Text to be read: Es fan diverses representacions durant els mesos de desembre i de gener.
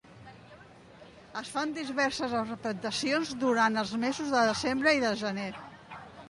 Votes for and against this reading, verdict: 0, 2, rejected